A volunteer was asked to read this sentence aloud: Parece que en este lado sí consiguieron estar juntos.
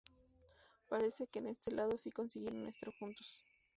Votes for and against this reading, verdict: 0, 4, rejected